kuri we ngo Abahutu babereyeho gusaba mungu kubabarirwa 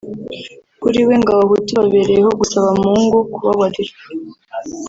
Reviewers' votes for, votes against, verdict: 1, 2, rejected